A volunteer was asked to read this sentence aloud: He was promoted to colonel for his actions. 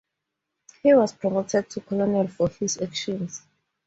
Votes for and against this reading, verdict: 0, 2, rejected